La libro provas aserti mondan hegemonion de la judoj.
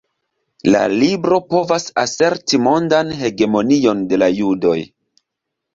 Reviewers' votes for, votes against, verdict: 2, 0, accepted